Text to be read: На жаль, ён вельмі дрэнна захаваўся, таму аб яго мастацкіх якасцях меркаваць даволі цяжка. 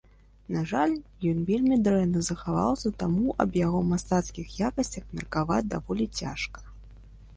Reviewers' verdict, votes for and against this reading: accepted, 2, 0